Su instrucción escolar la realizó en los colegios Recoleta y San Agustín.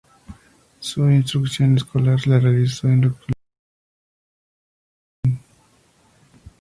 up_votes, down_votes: 0, 2